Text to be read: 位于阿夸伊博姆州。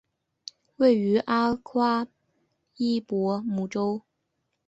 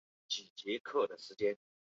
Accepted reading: first